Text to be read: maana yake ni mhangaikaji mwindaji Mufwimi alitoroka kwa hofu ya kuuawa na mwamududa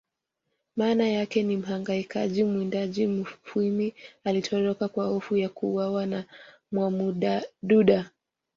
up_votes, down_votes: 2, 0